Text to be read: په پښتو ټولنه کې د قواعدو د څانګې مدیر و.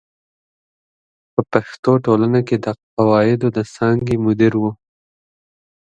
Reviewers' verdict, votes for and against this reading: accepted, 2, 0